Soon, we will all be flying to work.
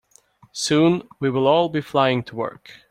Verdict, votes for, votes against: accepted, 2, 0